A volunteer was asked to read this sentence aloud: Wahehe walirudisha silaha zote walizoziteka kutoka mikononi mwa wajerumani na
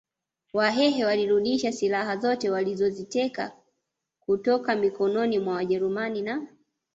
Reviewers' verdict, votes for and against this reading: accepted, 2, 0